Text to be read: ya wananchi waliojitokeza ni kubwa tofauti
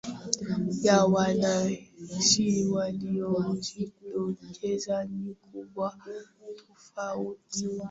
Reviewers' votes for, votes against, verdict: 0, 2, rejected